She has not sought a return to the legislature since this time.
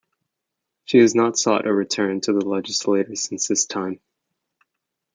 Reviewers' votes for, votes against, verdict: 1, 2, rejected